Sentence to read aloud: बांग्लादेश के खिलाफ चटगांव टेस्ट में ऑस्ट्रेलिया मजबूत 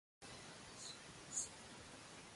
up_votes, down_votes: 0, 2